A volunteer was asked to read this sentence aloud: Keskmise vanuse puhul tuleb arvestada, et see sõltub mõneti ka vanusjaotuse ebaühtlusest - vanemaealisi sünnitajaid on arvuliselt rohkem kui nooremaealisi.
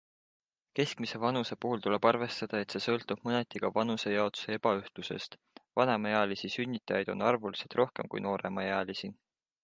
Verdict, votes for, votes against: accepted, 2, 0